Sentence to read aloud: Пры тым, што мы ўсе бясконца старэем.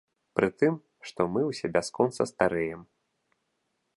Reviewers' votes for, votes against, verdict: 2, 0, accepted